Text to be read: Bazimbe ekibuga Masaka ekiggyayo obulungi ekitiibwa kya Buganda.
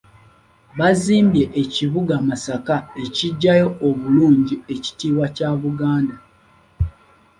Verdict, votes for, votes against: accepted, 2, 1